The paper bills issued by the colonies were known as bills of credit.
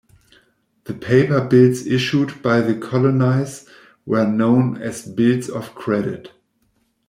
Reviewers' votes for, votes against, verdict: 0, 2, rejected